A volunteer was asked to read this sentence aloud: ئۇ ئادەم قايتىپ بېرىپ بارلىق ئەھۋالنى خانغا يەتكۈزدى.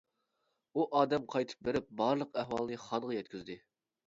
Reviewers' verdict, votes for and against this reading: accepted, 2, 0